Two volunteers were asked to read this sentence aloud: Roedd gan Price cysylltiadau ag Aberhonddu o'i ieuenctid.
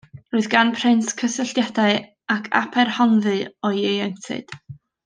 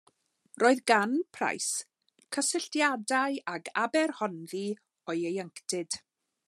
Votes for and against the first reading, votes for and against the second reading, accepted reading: 1, 2, 2, 0, second